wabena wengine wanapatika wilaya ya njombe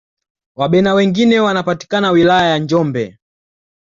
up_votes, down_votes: 2, 0